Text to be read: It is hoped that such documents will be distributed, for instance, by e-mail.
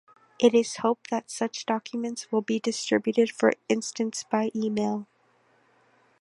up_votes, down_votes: 1, 2